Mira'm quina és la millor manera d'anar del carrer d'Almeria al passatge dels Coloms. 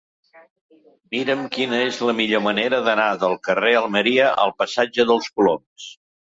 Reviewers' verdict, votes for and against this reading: rejected, 0, 2